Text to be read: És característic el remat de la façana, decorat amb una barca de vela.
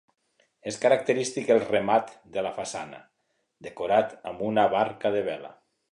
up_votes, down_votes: 2, 0